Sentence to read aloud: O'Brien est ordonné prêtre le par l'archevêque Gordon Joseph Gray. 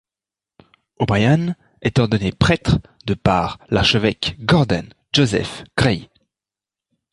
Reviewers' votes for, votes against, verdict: 0, 2, rejected